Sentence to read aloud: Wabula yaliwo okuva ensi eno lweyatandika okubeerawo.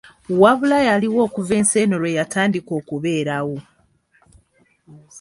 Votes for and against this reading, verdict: 2, 0, accepted